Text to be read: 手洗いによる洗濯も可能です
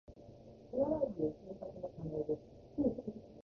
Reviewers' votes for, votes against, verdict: 1, 2, rejected